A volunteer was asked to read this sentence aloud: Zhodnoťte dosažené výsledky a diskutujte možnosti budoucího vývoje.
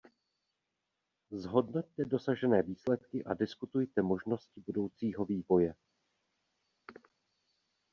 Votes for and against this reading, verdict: 1, 2, rejected